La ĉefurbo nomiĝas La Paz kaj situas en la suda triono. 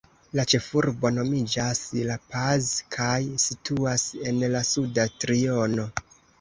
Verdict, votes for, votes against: accepted, 2, 0